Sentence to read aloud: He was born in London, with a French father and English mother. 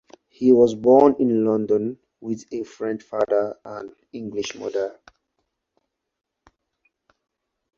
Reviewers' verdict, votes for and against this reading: accepted, 4, 2